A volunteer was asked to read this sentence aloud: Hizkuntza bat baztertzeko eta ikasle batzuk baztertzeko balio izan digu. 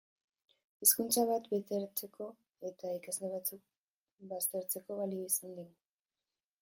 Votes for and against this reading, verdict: 3, 4, rejected